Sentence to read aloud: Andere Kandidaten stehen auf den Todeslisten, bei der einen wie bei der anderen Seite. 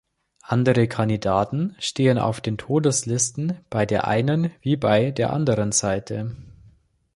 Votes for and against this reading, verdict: 2, 0, accepted